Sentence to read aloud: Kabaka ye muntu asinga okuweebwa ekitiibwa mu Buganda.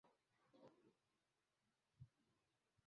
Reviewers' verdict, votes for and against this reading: rejected, 0, 2